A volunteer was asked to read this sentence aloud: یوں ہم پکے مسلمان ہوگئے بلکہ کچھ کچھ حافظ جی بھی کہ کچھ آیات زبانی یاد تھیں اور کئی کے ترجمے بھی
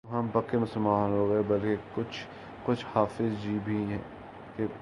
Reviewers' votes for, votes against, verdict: 0, 2, rejected